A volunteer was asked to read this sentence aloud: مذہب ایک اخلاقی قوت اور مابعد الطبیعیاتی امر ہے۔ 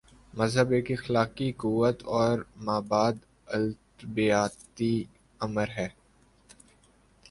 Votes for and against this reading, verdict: 2, 3, rejected